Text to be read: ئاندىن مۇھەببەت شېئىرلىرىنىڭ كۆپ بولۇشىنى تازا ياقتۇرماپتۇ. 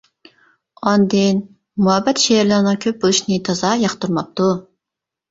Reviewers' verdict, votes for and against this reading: accepted, 2, 0